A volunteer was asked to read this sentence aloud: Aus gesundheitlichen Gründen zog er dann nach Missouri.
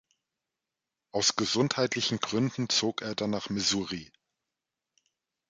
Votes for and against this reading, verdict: 1, 2, rejected